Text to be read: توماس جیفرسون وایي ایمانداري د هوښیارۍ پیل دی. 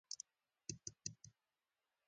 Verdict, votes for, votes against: rejected, 0, 2